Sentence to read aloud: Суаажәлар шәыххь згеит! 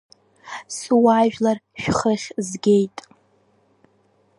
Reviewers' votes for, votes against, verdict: 1, 2, rejected